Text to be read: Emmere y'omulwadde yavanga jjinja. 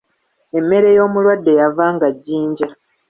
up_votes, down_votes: 2, 0